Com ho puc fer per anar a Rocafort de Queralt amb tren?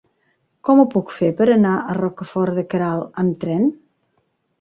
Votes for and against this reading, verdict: 3, 1, accepted